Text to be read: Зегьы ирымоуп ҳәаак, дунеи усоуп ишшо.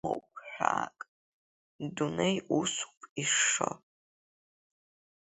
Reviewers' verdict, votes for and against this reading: rejected, 0, 3